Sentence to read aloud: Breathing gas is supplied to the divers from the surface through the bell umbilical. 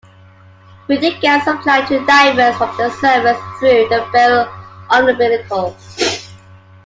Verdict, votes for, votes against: rejected, 0, 2